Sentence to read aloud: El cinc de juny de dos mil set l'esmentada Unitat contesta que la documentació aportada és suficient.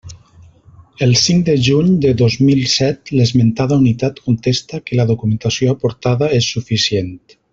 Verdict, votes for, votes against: accepted, 4, 0